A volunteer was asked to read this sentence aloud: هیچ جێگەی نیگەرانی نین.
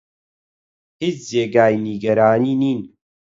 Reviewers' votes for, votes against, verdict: 8, 0, accepted